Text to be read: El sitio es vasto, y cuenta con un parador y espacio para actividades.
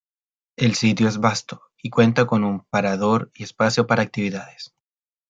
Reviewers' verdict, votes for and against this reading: accepted, 2, 1